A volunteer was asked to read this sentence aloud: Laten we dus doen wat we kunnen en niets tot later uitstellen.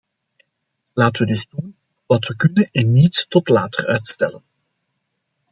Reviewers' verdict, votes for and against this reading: rejected, 0, 2